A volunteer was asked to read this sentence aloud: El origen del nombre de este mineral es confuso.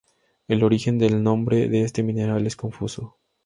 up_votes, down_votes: 4, 0